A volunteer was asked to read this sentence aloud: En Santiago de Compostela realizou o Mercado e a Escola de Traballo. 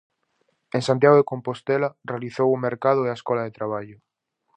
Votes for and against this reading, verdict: 4, 0, accepted